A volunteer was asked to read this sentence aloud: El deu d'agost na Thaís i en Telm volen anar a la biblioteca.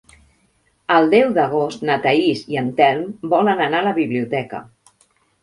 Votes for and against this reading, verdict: 6, 0, accepted